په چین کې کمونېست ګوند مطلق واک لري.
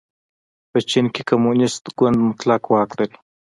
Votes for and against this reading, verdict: 1, 2, rejected